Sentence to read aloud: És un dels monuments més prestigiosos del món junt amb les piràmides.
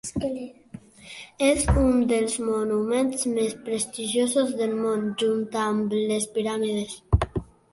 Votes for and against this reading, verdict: 2, 0, accepted